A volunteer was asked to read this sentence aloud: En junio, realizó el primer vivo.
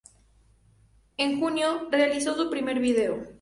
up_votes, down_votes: 0, 2